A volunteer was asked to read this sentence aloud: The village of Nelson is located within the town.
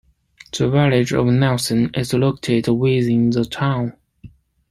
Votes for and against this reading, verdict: 2, 1, accepted